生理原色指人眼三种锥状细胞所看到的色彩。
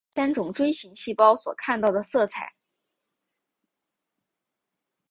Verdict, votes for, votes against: rejected, 1, 3